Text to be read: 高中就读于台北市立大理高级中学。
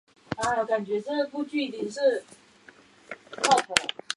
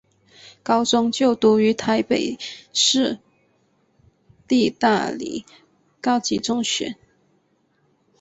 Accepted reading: second